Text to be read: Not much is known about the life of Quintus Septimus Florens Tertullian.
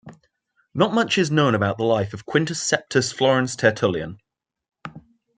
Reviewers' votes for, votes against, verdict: 0, 2, rejected